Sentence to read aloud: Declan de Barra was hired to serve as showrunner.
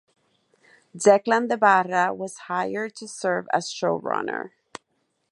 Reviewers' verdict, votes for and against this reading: accepted, 4, 0